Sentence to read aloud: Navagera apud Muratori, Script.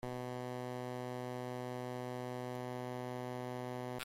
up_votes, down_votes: 0, 2